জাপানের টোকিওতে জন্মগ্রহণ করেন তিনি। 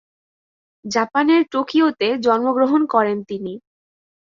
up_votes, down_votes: 2, 0